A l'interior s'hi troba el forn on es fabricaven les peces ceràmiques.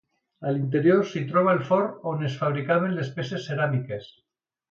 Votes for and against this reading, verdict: 2, 0, accepted